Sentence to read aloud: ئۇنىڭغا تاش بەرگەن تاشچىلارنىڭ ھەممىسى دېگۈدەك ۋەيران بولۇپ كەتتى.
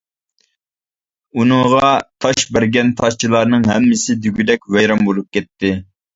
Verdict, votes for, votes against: accepted, 2, 0